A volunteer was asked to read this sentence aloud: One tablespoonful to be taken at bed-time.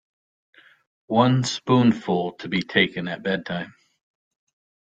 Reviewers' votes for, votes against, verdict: 1, 2, rejected